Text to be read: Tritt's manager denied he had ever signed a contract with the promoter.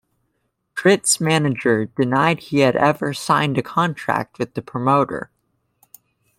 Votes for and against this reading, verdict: 2, 1, accepted